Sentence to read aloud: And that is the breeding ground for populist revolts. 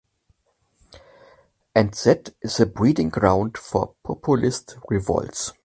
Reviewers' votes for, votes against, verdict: 2, 0, accepted